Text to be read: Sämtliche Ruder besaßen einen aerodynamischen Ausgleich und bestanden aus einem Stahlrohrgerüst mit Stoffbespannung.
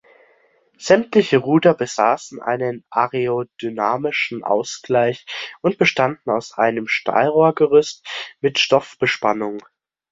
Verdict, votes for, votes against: accepted, 2, 0